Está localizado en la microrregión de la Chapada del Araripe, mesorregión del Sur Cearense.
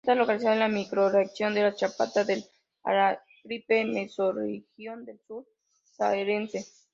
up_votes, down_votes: 0, 3